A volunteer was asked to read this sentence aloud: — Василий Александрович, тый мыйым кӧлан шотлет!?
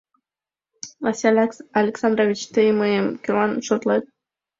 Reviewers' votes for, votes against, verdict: 1, 2, rejected